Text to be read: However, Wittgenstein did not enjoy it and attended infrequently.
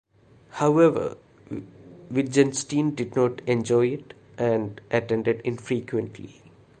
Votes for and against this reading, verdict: 2, 1, accepted